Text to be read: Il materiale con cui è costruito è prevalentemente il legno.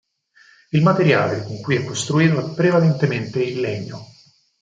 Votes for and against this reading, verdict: 4, 0, accepted